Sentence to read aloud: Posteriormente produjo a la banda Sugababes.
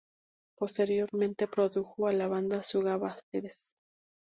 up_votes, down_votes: 0, 2